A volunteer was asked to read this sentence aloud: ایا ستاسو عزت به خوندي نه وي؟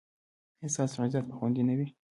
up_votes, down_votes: 1, 2